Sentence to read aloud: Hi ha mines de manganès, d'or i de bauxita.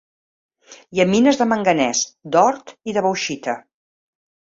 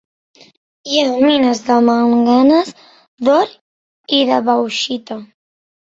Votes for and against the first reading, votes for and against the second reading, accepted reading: 2, 0, 1, 2, first